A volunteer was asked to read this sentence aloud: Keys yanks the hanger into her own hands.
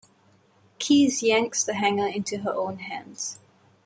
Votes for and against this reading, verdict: 2, 0, accepted